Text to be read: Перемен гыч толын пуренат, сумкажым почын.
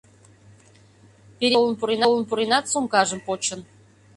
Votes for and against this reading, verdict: 0, 2, rejected